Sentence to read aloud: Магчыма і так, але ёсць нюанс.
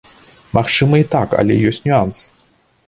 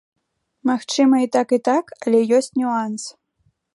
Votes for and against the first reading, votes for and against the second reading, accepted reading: 2, 0, 0, 2, first